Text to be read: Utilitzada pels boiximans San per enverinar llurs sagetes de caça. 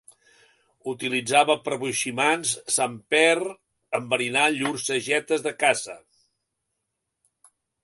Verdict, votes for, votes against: accepted, 2, 0